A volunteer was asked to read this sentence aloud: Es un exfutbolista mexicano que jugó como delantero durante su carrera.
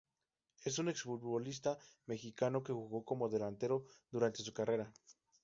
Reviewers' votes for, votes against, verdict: 0, 2, rejected